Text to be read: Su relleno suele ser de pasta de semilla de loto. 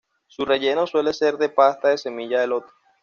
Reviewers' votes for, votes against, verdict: 2, 1, accepted